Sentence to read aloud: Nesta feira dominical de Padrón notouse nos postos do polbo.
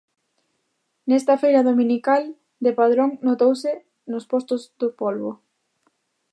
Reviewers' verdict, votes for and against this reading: accepted, 2, 0